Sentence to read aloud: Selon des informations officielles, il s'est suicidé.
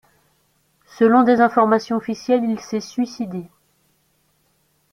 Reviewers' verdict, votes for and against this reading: rejected, 1, 2